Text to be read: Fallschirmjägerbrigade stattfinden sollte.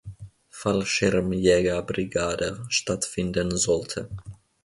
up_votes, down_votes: 2, 0